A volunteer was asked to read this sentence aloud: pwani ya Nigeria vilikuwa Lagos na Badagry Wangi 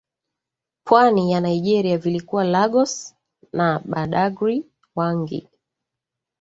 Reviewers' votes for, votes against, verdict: 2, 1, accepted